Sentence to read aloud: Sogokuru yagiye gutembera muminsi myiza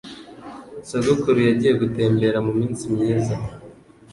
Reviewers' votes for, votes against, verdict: 2, 0, accepted